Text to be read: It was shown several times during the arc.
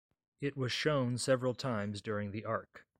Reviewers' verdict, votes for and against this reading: accepted, 2, 0